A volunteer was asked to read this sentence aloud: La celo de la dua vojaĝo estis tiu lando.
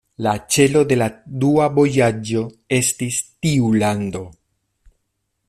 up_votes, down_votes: 2, 0